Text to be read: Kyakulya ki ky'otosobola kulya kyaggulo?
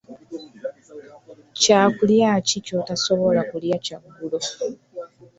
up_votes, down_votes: 2, 0